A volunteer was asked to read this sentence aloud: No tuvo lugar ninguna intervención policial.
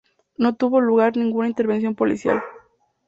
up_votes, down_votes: 2, 0